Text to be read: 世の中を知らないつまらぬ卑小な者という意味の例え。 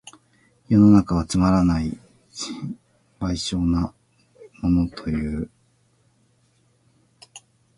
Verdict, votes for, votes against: rejected, 0, 2